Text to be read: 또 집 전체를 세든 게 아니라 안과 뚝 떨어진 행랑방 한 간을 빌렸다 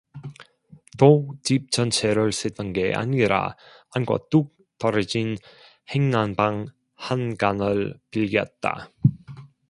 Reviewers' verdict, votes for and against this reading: rejected, 1, 2